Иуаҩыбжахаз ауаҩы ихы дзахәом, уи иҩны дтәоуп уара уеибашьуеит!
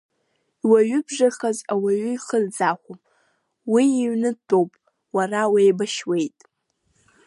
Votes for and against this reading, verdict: 0, 2, rejected